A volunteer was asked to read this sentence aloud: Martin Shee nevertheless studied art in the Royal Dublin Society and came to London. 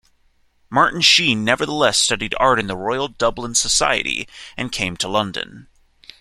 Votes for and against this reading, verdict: 2, 0, accepted